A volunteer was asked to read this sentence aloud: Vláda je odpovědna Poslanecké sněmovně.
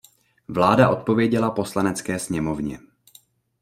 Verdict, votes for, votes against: rejected, 0, 3